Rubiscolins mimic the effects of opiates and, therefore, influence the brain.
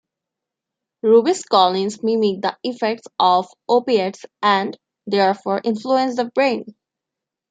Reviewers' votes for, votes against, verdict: 2, 0, accepted